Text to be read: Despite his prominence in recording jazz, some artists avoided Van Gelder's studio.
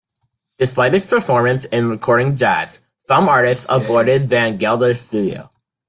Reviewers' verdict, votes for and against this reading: accepted, 2, 1